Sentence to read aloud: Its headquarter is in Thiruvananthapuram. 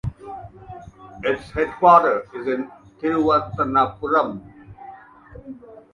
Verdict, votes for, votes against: accepted, 2, 0